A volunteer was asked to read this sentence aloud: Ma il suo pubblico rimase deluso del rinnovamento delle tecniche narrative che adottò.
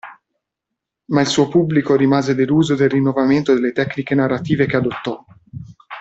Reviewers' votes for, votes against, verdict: 2, 0, accepted